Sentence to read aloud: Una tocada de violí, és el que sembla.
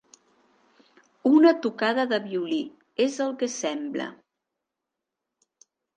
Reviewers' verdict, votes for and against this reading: accepted, 4, 0